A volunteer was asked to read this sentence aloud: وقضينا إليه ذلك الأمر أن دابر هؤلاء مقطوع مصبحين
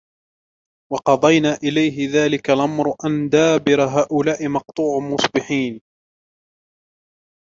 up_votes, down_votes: 1, 2